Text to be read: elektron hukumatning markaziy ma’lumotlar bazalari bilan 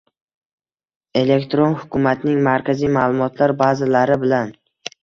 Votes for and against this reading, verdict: 1, 2, rejected